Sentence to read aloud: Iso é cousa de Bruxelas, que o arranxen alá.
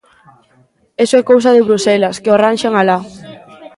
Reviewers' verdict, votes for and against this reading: accepted, 2, 0